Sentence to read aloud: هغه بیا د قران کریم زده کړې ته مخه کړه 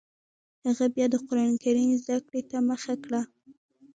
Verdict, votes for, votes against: accepted, 2, 0